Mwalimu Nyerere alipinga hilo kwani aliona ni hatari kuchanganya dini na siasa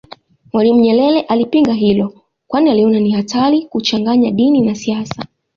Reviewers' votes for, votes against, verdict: 2, 1, accepted